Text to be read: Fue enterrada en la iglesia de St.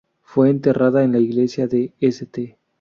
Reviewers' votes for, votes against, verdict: 4, 0, accepted